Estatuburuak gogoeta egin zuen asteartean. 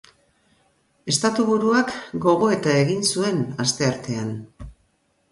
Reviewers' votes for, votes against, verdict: 2, 0, accepted